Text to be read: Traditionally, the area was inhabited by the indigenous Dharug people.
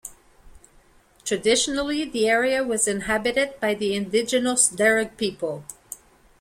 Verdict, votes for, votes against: accepted, 2, 0